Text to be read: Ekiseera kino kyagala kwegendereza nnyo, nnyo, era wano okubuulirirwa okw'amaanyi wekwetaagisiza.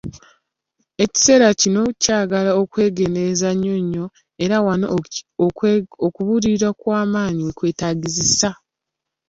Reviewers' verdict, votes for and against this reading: rejected, 0, 2